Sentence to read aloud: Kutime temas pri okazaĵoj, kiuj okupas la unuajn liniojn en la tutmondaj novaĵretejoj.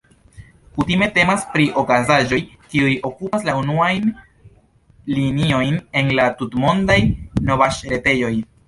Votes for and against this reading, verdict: 2, 1, accepted